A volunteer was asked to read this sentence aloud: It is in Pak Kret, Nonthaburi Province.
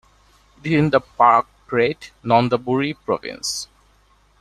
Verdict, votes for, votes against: rejected, 0, 2